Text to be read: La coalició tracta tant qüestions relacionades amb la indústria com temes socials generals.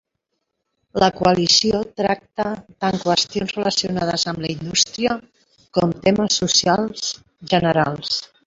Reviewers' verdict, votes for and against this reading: rejected, 0, 2